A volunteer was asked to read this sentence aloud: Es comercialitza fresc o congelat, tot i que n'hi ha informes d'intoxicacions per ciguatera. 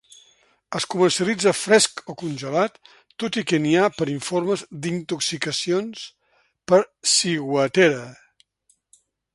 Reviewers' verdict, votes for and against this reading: rejected, 1, 2